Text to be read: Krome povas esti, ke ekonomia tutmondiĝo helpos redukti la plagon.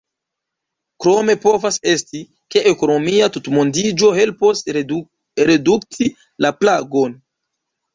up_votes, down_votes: 1, 2